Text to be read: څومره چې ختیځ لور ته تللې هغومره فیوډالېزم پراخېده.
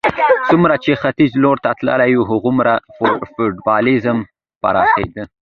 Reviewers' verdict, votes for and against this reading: rejected, 0, 2